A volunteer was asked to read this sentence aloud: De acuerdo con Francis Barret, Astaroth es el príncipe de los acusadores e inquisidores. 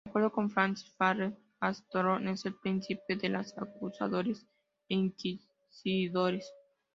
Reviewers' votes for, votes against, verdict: 2, 0, accepted